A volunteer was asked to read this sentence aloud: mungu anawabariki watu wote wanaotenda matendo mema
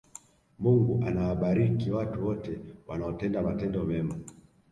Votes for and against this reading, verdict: 2, 0, accepted